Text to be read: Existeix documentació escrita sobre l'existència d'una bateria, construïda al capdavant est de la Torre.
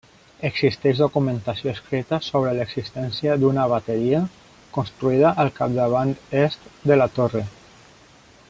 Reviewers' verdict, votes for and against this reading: accepted, 4, 0